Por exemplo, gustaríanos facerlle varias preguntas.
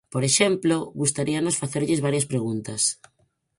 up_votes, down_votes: 2, 4